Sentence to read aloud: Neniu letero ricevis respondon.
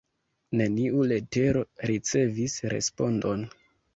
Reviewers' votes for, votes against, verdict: 2, 0, accepted